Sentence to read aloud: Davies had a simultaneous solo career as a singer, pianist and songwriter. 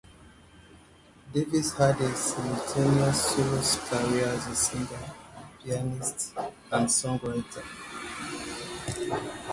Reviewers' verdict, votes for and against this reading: rejected, 0, 3